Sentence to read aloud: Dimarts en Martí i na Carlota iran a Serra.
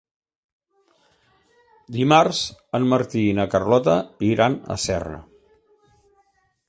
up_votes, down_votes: 3, 0